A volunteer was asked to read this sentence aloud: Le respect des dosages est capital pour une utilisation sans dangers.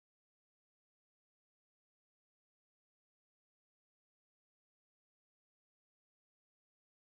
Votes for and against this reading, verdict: 0, 2, rejected